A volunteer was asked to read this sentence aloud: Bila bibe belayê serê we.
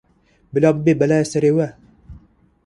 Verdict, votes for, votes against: accepted, 2, 0